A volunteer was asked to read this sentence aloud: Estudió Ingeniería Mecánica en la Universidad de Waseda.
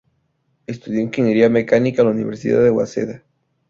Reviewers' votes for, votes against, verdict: 2, 0, accepted